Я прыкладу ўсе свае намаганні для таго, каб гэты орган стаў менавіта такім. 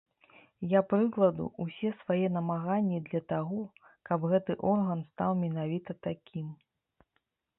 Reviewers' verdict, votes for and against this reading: rejected, 0, 2